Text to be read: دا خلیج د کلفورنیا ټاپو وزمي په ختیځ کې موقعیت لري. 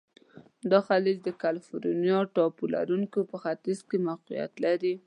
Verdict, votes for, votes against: rejected, 1, 2